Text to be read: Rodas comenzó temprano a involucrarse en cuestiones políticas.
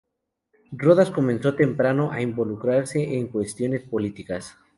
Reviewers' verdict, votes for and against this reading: rejected, 2, 2